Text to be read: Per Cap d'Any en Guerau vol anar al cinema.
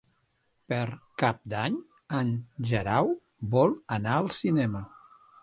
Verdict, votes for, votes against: accepted, 3, 0